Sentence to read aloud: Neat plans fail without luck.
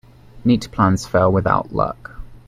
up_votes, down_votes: 2, 0